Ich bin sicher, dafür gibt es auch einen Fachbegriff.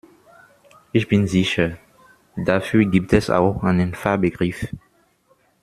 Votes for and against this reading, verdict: 1, 2, rejected